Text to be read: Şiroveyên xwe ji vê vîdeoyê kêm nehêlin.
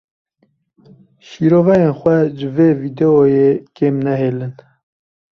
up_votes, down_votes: 2, 0